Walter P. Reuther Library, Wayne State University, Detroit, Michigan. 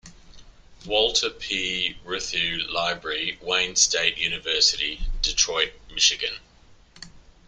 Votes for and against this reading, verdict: 1, 2, rejected